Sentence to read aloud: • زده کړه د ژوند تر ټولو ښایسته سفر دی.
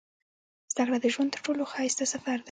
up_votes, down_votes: 2, 0